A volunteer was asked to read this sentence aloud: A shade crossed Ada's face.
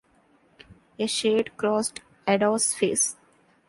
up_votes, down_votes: 2, 0